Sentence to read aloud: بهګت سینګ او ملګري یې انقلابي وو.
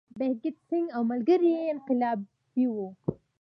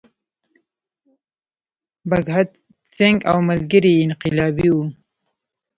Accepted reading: first